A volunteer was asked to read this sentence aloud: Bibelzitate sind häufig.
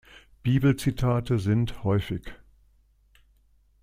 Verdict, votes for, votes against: accepted, 2, 0